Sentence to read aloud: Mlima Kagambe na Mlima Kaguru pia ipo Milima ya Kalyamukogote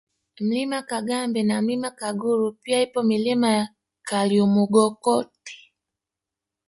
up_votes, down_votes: 3, 1